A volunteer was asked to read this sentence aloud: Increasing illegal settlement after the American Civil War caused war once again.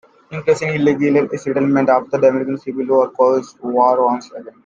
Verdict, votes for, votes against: rejected, 0, 2